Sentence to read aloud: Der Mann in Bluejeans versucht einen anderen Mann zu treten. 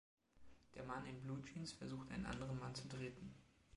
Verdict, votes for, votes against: accepted, 2, 0